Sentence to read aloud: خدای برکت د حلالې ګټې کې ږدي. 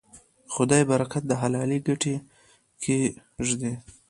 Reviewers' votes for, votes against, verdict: 2, 0, accepted